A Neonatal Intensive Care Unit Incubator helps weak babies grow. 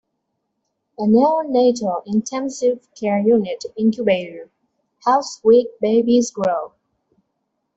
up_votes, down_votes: 2, 1